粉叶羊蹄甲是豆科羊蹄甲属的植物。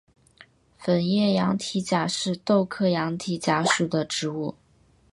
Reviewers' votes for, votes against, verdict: 4, 1, accepted